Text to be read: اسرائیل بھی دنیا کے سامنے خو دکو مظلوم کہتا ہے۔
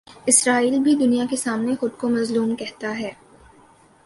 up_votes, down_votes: 3, 0